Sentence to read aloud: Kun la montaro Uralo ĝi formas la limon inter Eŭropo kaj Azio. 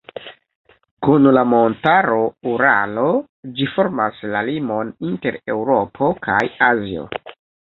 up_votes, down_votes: 1, 2